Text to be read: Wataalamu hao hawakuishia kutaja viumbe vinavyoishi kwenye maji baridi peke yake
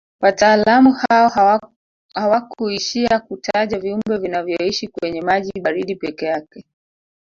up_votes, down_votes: 1, 4